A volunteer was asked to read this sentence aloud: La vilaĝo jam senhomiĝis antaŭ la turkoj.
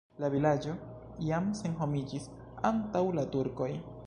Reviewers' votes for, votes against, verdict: 2, 0, accepted